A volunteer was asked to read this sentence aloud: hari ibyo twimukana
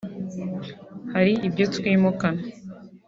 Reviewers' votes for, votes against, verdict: 3, 0, accepted